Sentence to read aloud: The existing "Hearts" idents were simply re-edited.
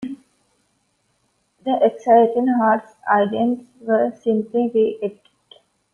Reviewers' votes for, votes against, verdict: 1, 2, rejected